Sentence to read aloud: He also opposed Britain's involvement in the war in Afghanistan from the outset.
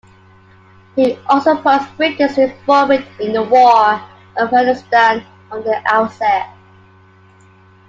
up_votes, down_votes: 0, 2